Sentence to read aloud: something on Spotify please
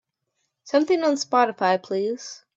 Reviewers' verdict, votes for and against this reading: accepted, 2, 0